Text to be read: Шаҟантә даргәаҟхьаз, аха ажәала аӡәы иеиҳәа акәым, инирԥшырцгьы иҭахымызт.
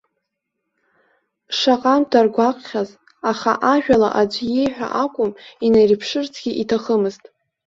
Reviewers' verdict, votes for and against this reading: rejected, 0, 2